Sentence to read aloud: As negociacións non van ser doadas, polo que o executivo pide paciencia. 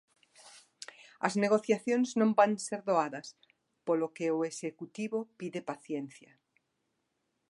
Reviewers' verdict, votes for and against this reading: accepted, 2, 0